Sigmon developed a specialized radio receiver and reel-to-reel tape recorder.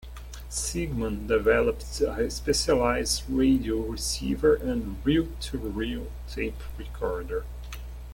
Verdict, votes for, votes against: accepted, 2, 1